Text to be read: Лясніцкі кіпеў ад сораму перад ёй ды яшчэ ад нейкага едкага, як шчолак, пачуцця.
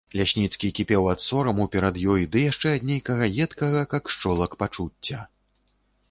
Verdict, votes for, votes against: rejected, 0, 2